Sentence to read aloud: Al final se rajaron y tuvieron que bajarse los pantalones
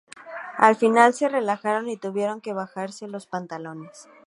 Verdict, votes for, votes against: rejected, 0, 2